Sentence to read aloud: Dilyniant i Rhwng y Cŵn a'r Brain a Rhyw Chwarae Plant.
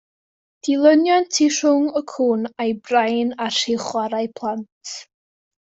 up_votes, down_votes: 1, 2